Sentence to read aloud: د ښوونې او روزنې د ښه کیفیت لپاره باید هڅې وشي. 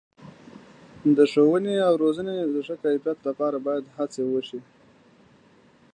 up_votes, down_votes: 2, 0